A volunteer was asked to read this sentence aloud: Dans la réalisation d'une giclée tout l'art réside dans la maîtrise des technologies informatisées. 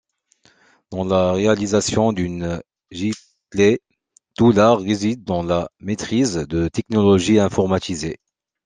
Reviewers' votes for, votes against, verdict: 1, 2, rejected